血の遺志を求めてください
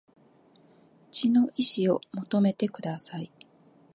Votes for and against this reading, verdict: 2, 0, accepted